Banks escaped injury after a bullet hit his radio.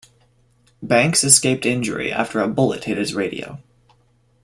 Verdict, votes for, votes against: accepted, 2, 0